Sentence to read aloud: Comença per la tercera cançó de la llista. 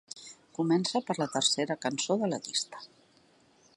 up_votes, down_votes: 2, 0